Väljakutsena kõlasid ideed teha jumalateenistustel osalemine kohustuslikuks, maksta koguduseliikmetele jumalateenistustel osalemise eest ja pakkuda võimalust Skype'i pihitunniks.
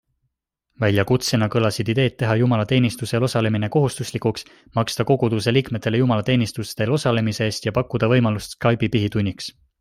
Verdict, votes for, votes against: accepted, 2, 0